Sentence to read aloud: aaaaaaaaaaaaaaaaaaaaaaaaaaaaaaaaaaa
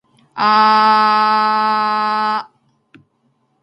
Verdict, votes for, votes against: accepted, 2, 0